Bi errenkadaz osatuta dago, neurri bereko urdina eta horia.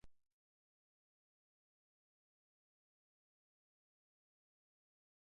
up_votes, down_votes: 0, 4